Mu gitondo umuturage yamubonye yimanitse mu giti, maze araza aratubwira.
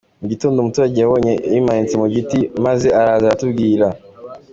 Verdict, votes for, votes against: accepted, 2, 1